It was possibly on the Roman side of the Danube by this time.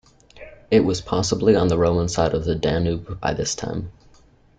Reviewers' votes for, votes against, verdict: 2, 1, accepted